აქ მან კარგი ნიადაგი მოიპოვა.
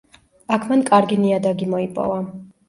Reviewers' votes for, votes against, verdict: 2, 0, accepted